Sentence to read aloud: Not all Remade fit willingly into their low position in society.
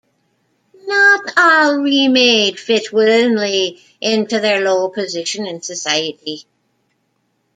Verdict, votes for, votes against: rejected, 0, 2